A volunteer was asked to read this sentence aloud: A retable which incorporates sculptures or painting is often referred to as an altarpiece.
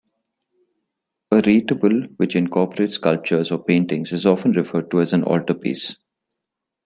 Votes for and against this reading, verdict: 1, 2, rejected